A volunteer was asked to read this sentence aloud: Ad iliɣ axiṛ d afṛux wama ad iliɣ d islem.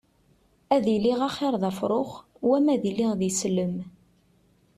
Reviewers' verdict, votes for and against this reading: accepted, 2, 0